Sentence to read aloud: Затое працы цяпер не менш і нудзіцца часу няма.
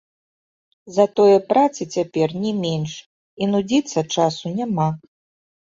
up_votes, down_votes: 2, 0